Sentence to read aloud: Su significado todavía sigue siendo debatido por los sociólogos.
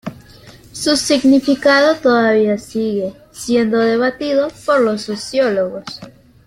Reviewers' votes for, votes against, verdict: 2, 0, accepted